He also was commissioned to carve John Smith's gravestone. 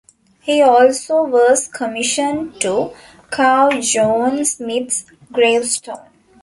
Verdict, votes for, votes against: accepted, 2, 1